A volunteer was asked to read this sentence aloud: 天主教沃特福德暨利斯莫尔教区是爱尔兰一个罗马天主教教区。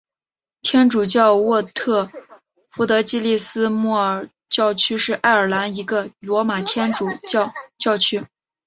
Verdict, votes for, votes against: accepted, 2, 0